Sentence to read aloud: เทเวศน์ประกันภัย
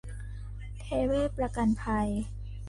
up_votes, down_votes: 2, 0